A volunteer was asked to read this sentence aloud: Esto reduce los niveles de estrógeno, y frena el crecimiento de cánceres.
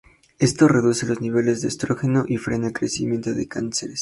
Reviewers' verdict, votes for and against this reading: accepted, 2, 0